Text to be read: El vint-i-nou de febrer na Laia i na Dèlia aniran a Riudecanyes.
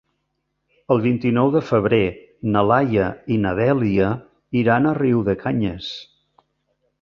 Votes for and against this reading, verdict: 1, 2, rejected